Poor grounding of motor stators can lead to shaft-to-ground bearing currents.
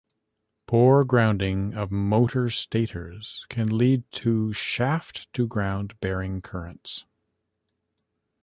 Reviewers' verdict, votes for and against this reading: rejected, 1, 2